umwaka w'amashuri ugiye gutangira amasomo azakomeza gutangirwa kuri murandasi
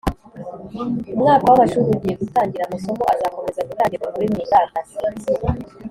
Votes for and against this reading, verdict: 2, 0, accepted